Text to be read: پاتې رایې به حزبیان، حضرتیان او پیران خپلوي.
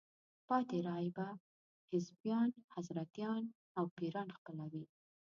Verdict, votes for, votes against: rejected, 0, 2